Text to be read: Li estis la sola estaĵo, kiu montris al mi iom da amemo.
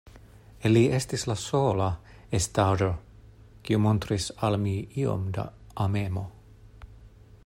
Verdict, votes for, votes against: accepted, 2, 0